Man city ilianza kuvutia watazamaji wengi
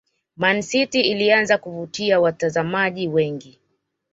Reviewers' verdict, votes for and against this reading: accepted, 2, 0